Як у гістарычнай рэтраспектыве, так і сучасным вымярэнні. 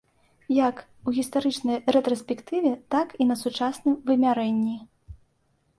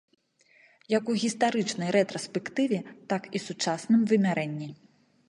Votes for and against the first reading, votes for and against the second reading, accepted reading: 0, 2, 2, 0, second